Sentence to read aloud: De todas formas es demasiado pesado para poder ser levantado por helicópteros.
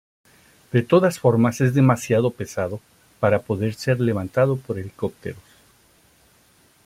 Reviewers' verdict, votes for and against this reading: accepted, 2, 0